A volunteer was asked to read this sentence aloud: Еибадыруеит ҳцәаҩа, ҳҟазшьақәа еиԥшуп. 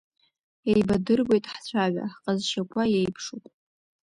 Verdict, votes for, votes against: rejected, 1, 2